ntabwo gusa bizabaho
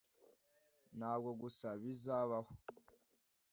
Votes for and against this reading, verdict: 2, 0, accepted